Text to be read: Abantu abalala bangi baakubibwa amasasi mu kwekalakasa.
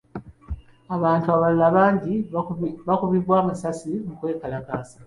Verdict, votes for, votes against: accepted, 2, 0